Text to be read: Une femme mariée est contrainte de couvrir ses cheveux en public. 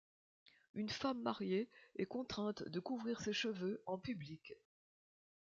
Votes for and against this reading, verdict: 2, 0, accepted